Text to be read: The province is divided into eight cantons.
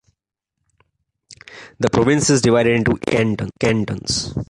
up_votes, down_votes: 1, 2